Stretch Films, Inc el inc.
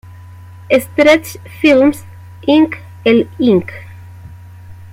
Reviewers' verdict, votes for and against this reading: rejected, 0, 2